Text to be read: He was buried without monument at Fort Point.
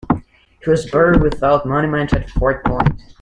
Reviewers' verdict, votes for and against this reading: accepted, 2, 1